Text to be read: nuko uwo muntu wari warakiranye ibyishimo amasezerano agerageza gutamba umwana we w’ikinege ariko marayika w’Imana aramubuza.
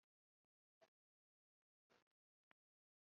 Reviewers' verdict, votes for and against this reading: rejected, 0, 2